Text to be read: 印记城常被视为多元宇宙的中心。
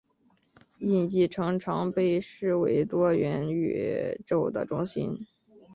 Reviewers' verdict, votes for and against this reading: accepted, 2, 0